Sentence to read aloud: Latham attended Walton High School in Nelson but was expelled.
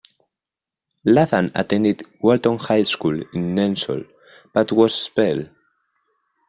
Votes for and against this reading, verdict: 0, 2, rejected